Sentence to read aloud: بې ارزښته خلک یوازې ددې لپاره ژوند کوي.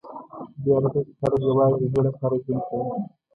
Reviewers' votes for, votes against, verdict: 0, 2, rejected